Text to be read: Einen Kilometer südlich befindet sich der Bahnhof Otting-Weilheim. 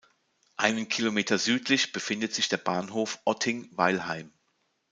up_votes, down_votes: 2, 0